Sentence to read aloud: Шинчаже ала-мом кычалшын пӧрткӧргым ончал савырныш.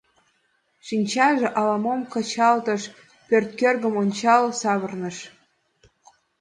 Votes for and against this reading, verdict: 1, 2, rejected